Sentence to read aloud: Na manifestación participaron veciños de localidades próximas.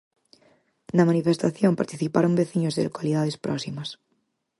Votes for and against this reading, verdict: 4, 0, accepted